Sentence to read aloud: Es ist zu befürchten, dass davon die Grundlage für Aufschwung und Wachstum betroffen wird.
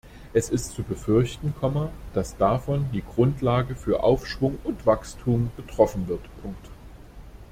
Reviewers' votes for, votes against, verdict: 0, 2, rejected